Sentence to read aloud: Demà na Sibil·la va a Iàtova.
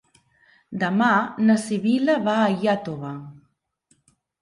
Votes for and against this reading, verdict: 4, 0, accepted